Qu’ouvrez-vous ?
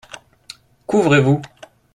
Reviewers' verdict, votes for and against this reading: accepted, 2, 0